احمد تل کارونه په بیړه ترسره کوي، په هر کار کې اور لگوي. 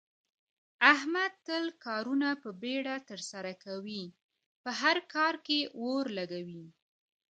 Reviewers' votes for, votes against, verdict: 1, 2, rejected